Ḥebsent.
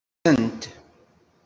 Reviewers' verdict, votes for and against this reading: rejected, 1, 2